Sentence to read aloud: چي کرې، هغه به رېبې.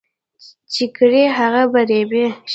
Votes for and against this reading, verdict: 0, 2, rejected